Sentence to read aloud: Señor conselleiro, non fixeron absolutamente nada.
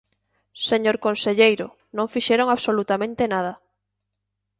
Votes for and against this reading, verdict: 2, 0, accepted